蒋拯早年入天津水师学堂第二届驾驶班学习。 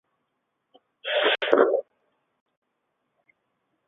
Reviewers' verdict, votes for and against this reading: rejected, 0, 2